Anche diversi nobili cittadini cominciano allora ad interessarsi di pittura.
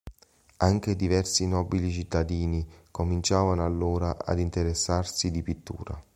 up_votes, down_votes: 1, 2